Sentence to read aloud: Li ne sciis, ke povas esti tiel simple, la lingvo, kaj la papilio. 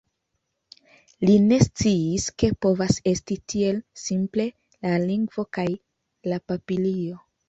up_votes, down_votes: 2, 0